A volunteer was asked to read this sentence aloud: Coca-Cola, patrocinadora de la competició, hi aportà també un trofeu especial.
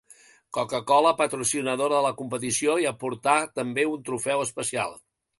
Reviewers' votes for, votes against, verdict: 2, 0, accepted